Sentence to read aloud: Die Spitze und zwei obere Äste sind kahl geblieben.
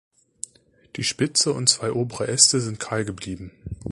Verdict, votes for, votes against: accepted, 2, 0